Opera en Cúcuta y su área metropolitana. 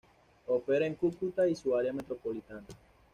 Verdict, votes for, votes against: accepted, 2, 0